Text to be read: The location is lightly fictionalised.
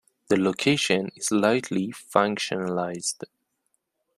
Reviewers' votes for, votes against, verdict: 1, 2, rejected